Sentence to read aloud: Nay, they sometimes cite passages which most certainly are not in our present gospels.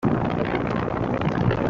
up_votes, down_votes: 0, 2